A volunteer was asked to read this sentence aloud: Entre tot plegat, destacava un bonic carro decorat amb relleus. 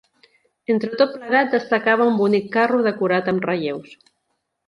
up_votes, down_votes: 2, 0